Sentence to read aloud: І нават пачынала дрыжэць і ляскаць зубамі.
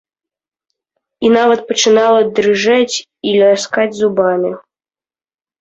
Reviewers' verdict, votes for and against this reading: rejected, 1, 2